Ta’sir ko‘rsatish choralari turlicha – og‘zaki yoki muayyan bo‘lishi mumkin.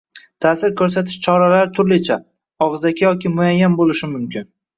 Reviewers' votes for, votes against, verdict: 2, 1, accepted